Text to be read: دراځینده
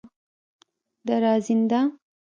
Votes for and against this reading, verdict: 2, 0, accepted